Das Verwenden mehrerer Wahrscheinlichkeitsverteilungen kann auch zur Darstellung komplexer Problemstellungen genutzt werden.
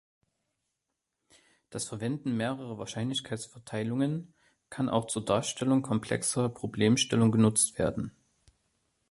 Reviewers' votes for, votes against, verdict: 2, 0, accepted